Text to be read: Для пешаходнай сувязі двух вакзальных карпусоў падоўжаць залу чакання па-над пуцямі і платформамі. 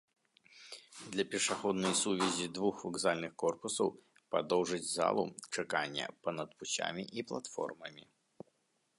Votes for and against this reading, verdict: 1, 2, rejected